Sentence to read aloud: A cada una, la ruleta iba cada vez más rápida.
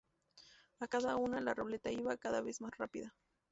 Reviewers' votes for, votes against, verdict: 0, 2, rejected